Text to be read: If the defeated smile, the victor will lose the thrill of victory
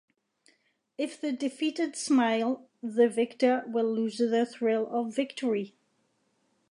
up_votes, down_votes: 2, 0